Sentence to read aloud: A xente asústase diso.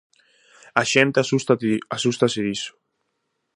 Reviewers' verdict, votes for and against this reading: rejected, 0, 2